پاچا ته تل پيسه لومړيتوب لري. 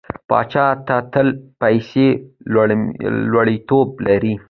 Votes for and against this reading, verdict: 0, 2, rejected